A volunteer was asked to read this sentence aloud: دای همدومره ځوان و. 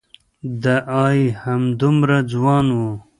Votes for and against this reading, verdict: 0, 2, rejected